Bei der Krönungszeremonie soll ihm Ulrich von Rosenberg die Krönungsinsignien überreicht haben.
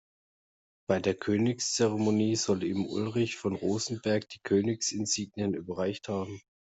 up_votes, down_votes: 1, 2